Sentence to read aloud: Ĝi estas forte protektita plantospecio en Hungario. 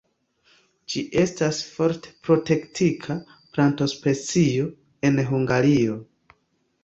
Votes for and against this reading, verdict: 2, 1, accepted